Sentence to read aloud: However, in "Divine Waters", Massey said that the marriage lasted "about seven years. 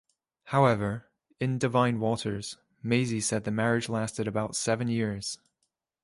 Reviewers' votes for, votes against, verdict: 0, 2, rejected